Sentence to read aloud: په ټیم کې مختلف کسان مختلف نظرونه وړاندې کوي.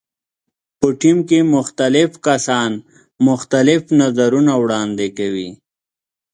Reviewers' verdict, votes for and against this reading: accepted, 2, 0